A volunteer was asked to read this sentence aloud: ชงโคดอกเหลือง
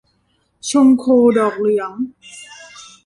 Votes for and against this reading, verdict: 2, 1, accepted